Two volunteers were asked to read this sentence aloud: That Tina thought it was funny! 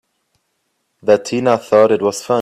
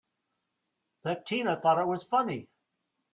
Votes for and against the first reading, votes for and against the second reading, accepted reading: 1, 2, 2, 0, second